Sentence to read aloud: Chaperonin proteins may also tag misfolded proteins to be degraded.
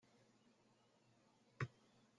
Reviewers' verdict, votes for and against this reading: rejected, 0, 2